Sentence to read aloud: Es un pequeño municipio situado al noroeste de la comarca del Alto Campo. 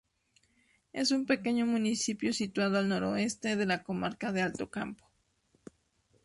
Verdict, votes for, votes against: rejected, 0, 2